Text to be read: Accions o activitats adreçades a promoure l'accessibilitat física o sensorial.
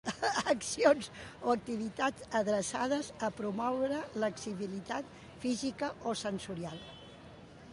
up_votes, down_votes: 0, 2